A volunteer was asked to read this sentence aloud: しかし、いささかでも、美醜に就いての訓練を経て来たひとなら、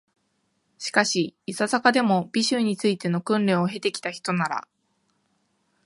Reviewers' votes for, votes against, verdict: 2, 0, accepted